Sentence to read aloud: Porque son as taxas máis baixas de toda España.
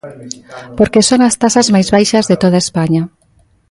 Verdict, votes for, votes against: rejected, 1, 2